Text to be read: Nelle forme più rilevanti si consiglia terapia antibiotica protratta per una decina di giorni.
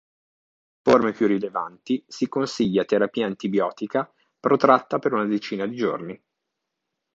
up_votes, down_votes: 0, 2